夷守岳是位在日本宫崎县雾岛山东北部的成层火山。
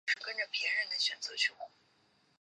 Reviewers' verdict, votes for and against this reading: rejected, 0, 3